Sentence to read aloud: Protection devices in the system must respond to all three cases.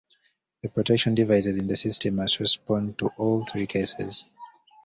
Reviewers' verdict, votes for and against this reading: rejected, 0, 2